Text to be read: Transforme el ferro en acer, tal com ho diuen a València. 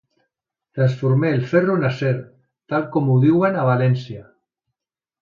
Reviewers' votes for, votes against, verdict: 2, 0, accepted